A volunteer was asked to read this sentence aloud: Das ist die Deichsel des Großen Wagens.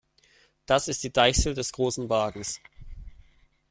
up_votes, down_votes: 2, 0